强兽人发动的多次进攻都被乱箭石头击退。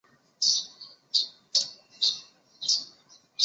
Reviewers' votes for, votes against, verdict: 0, 6, rejected